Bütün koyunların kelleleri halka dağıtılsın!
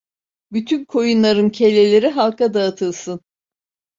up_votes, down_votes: 2, 0